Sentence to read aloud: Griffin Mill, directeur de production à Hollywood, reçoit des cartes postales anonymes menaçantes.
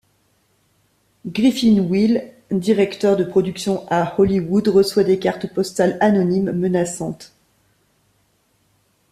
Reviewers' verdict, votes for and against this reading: rejected, 1, 2